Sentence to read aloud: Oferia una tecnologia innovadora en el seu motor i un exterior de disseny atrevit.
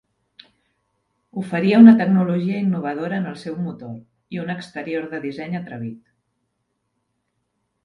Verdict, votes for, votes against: rejected, 0, 2